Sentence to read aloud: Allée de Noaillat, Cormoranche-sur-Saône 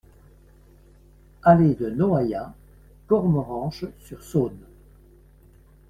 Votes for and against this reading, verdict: 2, 0, accepted